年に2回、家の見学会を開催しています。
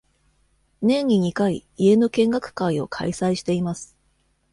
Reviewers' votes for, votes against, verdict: 0, 2, rejected